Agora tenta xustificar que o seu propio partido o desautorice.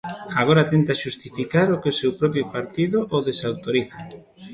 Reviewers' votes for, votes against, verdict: 0, 2, rejected